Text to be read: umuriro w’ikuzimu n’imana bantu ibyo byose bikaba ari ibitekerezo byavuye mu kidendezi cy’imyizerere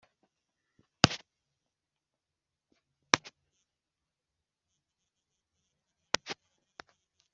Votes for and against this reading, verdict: 0, 2, rejected